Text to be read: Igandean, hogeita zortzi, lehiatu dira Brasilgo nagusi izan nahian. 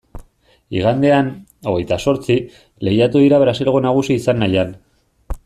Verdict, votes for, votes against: accepted, 2, 0